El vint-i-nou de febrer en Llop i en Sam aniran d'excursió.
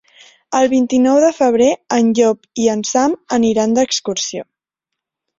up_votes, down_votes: 3, 0